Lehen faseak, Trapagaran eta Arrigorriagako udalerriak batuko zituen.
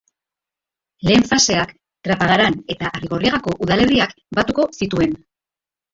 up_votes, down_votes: 2, 0